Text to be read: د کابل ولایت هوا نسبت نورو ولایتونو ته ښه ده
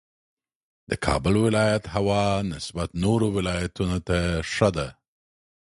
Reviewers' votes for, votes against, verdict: 2, 0, accepted